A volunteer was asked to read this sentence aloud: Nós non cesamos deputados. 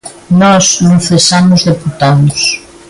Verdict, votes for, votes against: rejected, 1, 2